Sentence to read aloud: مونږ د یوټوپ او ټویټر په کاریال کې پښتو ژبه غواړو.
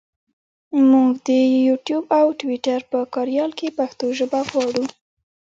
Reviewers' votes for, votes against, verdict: 1, 2, rejected